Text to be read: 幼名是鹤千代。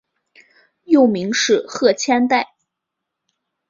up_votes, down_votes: 3, 0